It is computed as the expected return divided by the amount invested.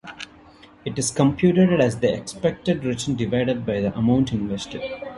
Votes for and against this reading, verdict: 1, 2, rejected